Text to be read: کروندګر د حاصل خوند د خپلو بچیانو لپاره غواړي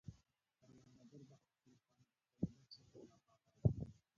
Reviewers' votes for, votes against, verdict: 0, 2, rejected